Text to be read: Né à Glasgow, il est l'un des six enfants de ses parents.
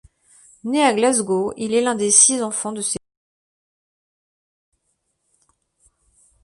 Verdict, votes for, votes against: rejected, 0, 2